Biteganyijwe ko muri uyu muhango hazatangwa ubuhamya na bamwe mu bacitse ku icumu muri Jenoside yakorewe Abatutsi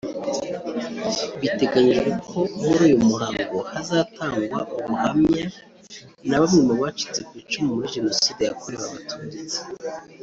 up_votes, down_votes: 1, 2